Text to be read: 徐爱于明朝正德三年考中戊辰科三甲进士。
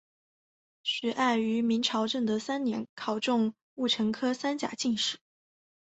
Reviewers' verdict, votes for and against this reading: accepted, 2, 0